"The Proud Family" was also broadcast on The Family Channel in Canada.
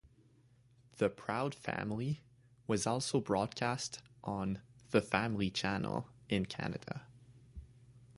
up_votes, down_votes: 2, 0